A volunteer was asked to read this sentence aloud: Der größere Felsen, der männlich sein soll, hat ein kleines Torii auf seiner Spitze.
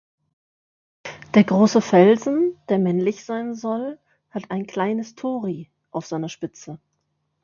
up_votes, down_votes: 0, 2